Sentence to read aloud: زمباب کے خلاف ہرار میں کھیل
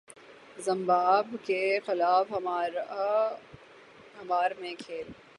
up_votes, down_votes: 3, 3